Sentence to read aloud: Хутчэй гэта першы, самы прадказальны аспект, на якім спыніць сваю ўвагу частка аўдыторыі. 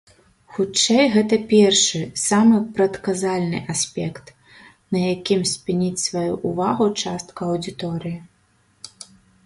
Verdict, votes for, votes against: rejected, 1, 2